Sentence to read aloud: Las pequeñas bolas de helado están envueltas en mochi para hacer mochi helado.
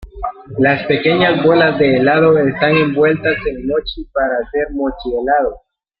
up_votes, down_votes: 0, 3